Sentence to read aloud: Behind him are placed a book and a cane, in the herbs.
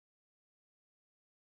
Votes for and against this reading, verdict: 0, 2, rejected